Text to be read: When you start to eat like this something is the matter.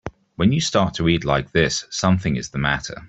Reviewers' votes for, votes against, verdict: 2, 0, accepted